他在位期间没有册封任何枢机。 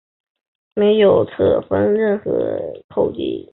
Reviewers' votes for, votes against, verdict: 1, 2, rejected